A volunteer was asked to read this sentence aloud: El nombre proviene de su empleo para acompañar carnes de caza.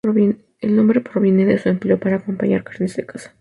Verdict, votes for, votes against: rejected, 0, 2